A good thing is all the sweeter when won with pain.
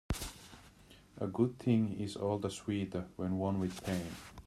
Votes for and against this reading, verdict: 1, 2, rejected